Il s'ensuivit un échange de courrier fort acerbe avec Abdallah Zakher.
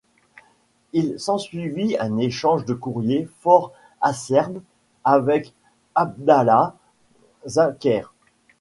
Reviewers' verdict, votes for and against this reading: rejected, 1, 2